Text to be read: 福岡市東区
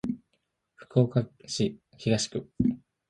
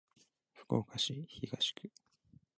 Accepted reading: first